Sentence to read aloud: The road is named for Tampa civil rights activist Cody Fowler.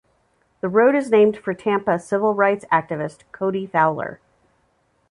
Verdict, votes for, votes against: accepted, 2, 0